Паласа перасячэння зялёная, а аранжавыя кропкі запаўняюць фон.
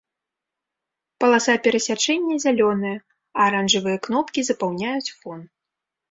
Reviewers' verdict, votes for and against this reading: rejected, 0, 2